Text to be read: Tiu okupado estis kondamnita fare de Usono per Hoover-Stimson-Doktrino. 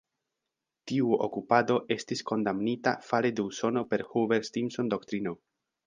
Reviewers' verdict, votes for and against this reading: rejected, 1, 2